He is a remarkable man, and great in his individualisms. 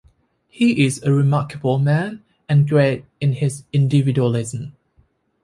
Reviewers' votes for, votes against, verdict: 2, 0, accepted